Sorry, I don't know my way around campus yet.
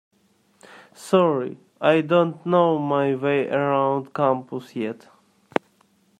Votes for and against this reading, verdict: 2, 0, accepted